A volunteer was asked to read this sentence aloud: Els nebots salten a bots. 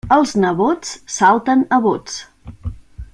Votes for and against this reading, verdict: 2, 0, accepted